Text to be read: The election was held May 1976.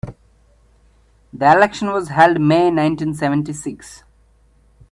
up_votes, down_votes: 0, 2